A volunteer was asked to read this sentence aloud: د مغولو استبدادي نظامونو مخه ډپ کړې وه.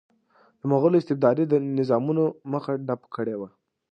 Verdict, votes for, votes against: accepted, 2, 0